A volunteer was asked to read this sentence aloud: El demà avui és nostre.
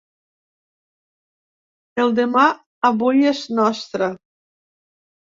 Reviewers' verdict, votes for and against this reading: accepted, 3, 0